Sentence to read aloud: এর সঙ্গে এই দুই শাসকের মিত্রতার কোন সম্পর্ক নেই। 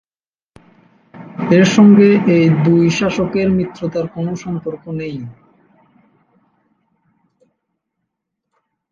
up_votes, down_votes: 0, 2